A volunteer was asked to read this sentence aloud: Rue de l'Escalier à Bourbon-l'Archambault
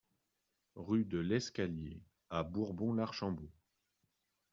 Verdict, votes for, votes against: accepted, 2, 0